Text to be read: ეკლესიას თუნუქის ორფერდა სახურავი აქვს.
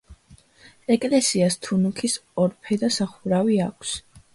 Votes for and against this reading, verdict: 2, 0, accepted